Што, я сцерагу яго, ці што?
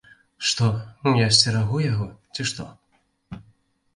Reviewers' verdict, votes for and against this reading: accepted, 2, 0